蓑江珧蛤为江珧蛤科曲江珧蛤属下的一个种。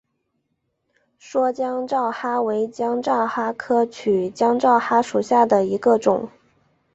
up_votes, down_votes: 4, 0